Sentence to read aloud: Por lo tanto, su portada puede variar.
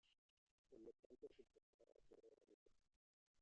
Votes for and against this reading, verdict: 0, 2, rejected